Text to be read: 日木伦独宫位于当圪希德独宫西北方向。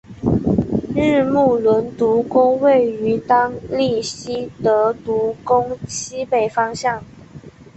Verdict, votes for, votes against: accepted, 3, 0